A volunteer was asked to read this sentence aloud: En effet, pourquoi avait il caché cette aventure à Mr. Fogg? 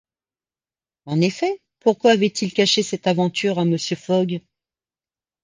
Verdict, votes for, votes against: accepted, 2, 0